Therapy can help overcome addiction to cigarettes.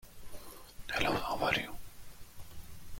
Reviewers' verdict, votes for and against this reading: rejected, 0, 2